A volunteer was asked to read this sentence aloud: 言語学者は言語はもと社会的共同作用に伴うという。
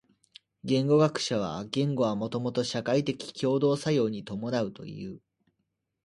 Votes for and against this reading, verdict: 2, 1, accepted